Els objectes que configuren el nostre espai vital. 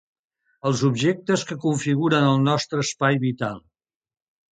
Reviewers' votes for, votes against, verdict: 3, 0, accepted